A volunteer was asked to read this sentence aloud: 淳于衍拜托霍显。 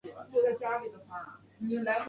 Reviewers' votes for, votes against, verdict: 0, 2, rejected